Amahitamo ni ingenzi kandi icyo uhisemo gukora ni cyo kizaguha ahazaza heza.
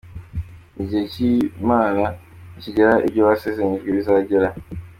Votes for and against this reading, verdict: 1, 2, rejected